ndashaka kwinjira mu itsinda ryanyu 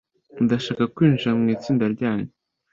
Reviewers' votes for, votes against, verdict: 2, 0, accepted